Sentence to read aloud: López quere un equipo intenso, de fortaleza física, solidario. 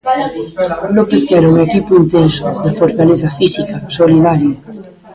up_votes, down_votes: 0, 2